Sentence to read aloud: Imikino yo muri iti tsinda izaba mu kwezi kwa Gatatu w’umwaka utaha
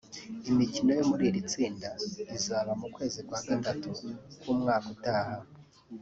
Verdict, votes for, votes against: accepted, 2, 1